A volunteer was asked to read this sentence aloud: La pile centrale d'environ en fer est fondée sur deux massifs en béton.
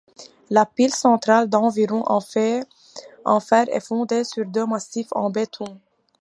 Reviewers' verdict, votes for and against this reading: rejected, 0, 2